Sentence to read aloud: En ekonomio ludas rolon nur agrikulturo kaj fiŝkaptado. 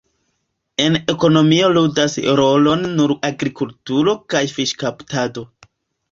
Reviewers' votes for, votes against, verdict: 2, 1, accepted